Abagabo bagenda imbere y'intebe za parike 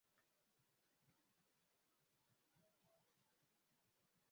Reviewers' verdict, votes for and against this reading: rejected, 0, 2